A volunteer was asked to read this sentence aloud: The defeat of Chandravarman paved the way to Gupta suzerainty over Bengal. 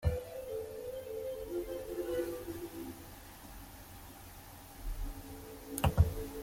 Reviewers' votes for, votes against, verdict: 0, 2, rejected